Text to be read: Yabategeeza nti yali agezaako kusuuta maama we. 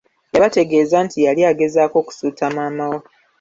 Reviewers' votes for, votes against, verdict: 2, 0, accepted